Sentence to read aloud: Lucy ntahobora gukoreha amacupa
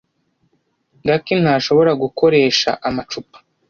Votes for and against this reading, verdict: 1, 2, rejected